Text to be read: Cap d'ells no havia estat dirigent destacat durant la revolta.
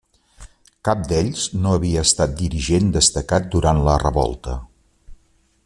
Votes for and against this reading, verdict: 3, 0, accepted